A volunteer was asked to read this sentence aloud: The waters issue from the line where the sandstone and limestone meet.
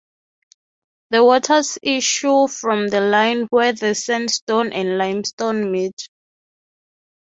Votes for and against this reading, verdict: 3, 0, accepted